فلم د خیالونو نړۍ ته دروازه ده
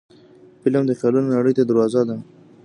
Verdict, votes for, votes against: accepted, 2, 1